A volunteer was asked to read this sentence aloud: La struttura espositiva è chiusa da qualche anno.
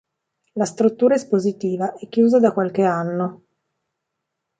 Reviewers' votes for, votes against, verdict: 2, 1, accepted